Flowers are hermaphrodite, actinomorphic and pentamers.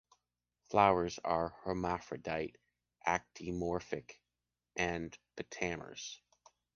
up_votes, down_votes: 2, 0